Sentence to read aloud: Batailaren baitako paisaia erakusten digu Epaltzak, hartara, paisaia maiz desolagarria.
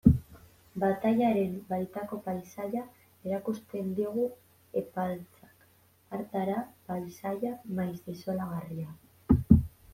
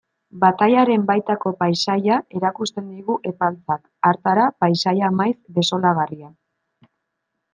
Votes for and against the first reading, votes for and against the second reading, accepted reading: 1, 2, 2, 0, second